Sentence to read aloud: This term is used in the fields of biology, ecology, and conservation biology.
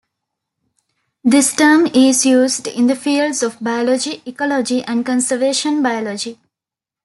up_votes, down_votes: 2, 0